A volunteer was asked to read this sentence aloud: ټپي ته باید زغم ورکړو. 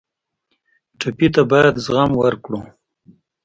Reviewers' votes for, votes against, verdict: 2, 0, accepted